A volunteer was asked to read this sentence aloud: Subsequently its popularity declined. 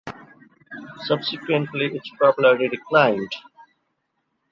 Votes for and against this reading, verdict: 0, 2, rejected